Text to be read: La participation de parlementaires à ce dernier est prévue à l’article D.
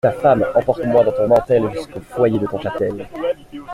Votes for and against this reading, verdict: 0, 2, rejected